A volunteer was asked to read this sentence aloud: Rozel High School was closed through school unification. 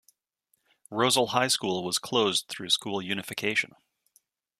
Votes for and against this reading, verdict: 3, 0, accepted